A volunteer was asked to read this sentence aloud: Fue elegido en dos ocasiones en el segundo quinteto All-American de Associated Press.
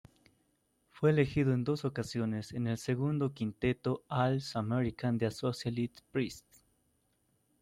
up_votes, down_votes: 1, 2